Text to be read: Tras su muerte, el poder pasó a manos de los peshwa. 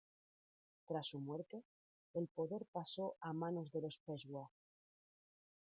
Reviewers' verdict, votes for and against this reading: rejected, 0, 2